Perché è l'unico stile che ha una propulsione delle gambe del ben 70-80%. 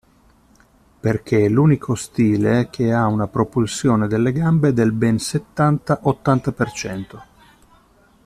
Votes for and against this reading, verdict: 0, 2, rejected